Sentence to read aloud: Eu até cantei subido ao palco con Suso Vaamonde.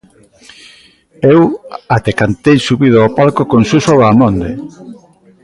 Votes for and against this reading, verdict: 2, 0, accepted